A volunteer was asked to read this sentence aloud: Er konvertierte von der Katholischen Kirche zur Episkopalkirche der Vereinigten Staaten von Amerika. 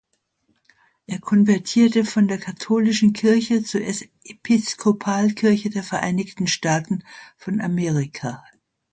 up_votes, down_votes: 0, 2